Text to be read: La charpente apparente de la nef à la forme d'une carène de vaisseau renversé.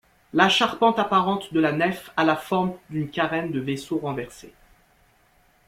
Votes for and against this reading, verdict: 2, 0, accepted